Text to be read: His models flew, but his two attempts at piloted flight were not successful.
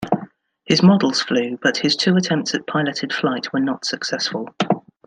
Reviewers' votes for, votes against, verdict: 2, 0, accepted